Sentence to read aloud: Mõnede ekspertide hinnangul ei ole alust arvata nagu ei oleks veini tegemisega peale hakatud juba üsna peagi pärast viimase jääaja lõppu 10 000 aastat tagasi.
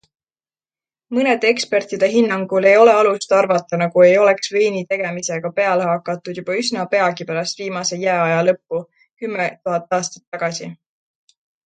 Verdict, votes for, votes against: rejected, 0, 2